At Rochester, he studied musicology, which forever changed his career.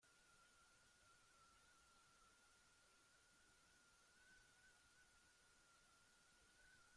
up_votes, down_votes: 0, 2